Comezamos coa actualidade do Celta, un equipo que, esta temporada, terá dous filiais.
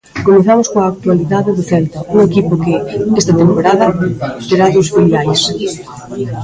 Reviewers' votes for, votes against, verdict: 2, 0, accepted